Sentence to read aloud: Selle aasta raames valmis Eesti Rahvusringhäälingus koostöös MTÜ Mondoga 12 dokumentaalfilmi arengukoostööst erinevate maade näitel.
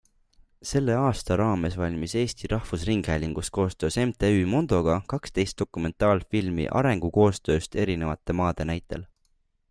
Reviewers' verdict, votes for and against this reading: rejected, 0, 2